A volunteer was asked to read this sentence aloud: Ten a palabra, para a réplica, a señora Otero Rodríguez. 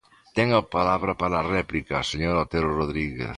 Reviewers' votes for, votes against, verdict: 2, 0, accepted